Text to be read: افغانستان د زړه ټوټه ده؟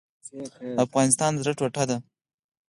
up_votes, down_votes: 4, 0